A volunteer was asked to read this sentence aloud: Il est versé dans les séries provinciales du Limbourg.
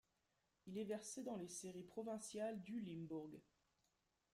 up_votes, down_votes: 2, 0